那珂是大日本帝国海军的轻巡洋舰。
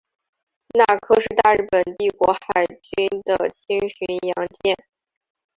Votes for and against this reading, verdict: 2, 0, accepted